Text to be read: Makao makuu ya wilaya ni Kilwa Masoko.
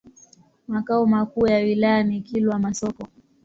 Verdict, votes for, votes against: accepted, 4, 0